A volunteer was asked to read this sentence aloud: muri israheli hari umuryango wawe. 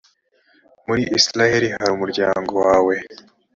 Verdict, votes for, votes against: accepted, 3, 0